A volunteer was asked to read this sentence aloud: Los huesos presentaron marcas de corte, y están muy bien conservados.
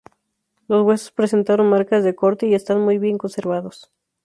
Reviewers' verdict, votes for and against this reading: accepted, 4, 0